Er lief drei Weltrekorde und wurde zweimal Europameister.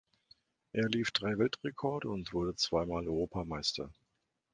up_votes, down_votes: 2, 0